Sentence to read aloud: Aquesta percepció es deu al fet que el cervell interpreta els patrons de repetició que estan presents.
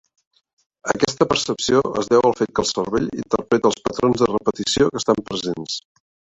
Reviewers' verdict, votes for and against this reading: accepted, 3, 0